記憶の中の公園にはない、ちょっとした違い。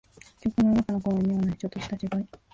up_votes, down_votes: 0, 2